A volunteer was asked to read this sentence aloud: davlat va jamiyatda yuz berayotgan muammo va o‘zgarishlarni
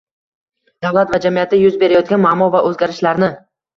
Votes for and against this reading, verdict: 2, 1, accepted